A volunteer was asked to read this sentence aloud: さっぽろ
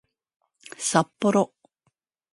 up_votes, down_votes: 3, 0